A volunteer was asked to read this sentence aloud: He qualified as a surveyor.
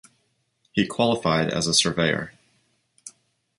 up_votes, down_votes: 2, 1